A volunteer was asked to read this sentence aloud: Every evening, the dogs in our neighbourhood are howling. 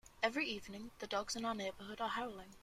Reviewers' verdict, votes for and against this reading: accepted, 2, 0